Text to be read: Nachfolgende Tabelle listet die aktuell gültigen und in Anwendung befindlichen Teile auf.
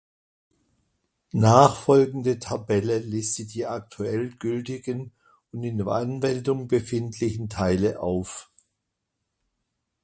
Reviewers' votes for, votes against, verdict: 2, 0, accepted